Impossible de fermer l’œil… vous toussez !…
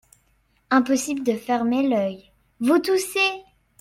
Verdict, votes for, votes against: accepted, 2, 0